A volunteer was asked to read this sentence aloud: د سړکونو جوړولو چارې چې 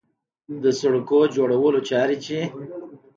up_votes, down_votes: 2, 0